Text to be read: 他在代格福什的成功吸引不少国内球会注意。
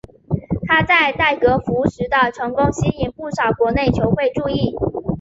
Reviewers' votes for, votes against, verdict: 3, 0, accepted